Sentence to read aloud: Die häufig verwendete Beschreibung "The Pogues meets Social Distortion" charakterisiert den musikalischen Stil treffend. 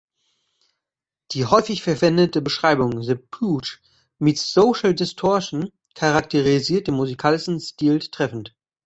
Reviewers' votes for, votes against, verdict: 0, 2, rejected